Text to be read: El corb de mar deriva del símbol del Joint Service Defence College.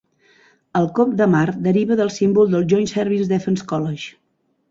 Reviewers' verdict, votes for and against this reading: rejected, 0, 2